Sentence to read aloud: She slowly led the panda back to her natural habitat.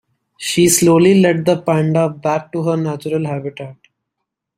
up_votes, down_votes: 2, 0